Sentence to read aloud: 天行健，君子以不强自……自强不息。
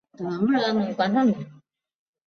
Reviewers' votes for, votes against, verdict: 1, 3, rejected